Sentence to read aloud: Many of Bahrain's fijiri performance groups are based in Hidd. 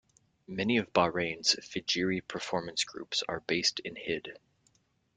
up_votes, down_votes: 2, 0